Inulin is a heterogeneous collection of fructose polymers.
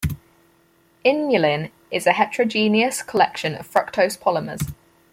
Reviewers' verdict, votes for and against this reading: rejected, 2, 4